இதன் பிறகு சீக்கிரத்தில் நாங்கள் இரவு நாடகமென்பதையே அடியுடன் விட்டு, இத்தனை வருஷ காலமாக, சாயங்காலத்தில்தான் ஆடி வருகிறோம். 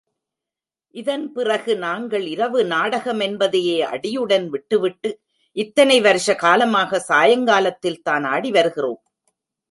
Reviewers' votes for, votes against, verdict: 0, 3, rejected